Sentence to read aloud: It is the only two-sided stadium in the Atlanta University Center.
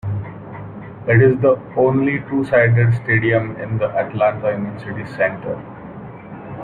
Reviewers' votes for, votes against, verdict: 1, 2, rejected